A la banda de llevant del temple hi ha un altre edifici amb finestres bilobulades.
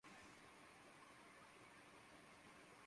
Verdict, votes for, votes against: rejected, 0, 2